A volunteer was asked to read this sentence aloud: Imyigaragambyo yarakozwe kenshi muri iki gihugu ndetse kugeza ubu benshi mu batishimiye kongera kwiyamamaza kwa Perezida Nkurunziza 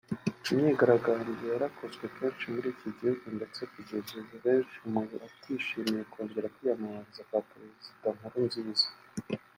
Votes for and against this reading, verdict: 2, 0, accepted